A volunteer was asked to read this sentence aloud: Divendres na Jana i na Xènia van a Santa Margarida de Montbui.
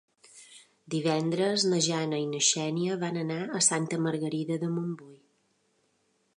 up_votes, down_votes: 1, 2